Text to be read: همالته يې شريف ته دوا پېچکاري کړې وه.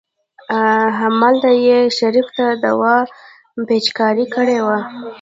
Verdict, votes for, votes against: rejected, 0, 2